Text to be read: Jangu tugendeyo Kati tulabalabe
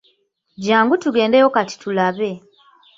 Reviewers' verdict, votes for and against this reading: rejected, 1, 2